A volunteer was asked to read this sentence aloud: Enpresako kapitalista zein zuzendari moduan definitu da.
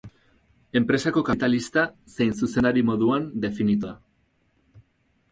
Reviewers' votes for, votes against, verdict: 0, 4, rejected